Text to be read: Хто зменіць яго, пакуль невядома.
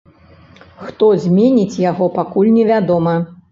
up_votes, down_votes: 2, 0